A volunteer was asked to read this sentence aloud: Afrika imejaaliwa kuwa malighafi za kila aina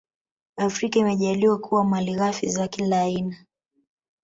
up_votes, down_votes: 2, 0